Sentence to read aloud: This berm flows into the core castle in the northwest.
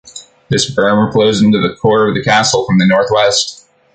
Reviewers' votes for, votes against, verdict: 0, 2, rejected